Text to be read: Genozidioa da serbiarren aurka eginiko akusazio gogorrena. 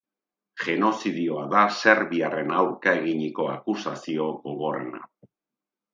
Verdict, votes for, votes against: accepted, 3, 0